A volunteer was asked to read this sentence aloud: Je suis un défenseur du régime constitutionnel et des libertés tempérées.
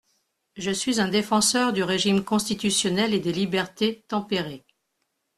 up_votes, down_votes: 2, 0